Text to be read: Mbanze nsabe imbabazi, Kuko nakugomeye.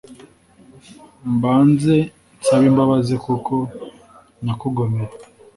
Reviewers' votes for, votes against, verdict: 2, 0, accepted